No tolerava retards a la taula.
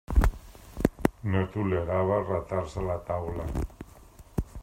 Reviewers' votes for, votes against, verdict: 1, 2, rejected